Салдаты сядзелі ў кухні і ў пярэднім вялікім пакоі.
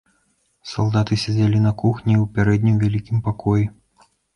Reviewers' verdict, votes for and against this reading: rejected, 0, 2